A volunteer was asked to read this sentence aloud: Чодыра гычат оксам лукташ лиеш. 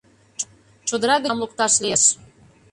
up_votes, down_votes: 0, 2